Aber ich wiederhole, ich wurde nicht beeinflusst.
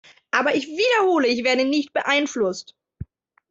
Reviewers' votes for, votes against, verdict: 0, 2, rejected